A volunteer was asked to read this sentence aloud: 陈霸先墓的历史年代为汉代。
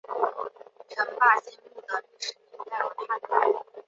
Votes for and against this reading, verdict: 0, 2, rejected